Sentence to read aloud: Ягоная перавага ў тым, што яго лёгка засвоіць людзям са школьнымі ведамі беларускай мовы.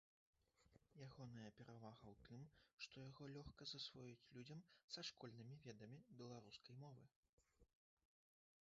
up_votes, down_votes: 0, 2